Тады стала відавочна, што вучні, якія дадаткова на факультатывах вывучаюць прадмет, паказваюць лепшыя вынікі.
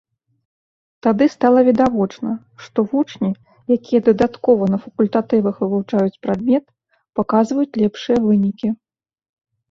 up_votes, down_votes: 2, 0